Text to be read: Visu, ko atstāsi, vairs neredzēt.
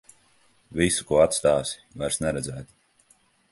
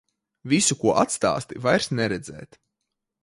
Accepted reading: first